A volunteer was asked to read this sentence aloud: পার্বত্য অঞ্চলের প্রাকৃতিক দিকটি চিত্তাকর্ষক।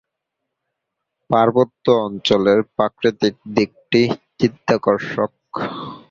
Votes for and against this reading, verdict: 2, 1, accepted